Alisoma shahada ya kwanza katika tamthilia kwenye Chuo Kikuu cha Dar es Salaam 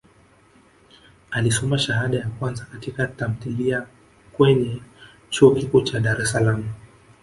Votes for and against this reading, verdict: 1, 2, rejected